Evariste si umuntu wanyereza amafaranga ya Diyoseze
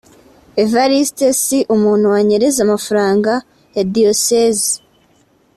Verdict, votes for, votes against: accepted, 2, 0